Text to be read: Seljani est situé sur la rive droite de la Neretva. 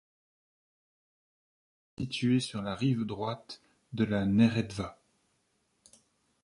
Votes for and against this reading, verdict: 0, 2, rejected